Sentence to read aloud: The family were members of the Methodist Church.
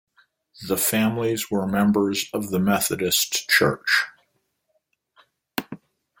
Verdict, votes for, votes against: rejected, 0, 2